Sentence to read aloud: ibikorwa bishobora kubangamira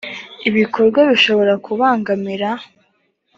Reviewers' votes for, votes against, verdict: 3, 0, accepted